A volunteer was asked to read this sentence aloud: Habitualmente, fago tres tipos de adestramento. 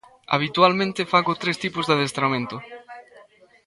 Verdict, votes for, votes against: rejected, 0, 2